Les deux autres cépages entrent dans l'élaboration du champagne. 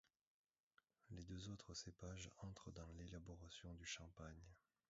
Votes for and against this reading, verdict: 2, 0, accepted